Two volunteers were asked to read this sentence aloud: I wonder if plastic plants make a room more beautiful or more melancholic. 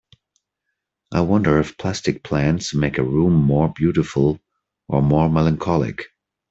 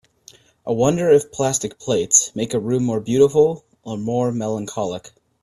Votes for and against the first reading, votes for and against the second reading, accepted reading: 3, 0, 1, 2, first